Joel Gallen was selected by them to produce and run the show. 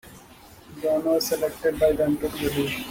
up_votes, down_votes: 0, 2